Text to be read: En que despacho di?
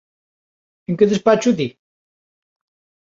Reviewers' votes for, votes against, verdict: 3, 0, accepted